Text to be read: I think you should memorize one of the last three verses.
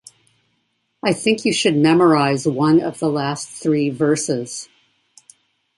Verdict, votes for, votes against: accepted, 2, 0